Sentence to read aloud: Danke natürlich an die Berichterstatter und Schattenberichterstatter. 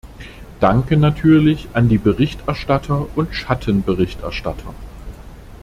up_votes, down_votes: 2, 0